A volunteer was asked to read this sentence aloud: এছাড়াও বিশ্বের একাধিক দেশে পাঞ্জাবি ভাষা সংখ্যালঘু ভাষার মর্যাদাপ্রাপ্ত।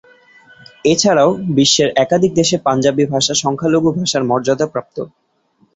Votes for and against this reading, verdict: 2, 0, accepted